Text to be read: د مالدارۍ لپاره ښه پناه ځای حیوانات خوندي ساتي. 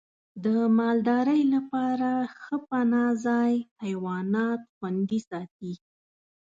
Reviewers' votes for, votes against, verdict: 2, 0, accepted